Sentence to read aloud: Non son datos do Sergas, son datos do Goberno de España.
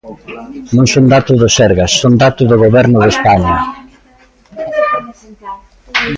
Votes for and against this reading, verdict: 0, 2, rejected